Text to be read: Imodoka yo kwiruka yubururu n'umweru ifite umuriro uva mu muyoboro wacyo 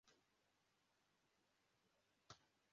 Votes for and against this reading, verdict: 0, 2, rejected